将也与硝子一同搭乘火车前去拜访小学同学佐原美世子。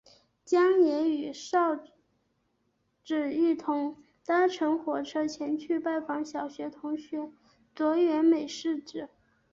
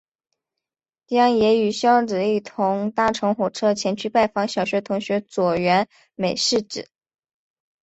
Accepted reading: second